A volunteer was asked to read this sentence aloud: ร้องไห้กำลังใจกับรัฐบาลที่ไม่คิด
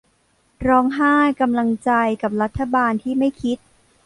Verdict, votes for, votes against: accepted, 2, 0